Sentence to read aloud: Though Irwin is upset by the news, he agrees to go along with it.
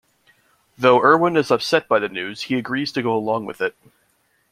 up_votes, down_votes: 2, 0